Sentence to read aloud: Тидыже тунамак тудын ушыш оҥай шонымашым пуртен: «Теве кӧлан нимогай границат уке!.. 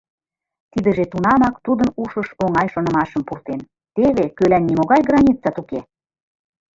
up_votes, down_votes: 2, 0